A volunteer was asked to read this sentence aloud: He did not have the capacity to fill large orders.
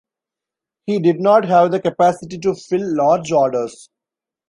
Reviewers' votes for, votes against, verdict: 2, 0, accepted